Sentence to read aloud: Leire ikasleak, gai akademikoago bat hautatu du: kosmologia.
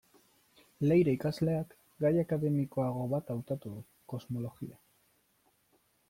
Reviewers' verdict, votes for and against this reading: accepted, 2, 0